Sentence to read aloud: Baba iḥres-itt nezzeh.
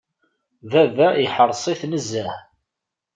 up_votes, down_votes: 1, 2